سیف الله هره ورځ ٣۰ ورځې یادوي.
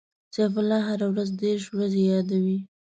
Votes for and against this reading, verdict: 0, 2, rejected